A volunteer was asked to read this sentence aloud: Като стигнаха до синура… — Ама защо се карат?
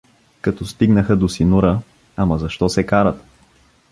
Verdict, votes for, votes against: rejected, 0, 2